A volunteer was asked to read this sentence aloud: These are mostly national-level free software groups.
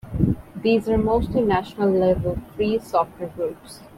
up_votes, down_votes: 2, 0